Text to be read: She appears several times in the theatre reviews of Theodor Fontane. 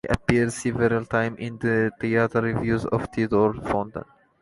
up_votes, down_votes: 1, 2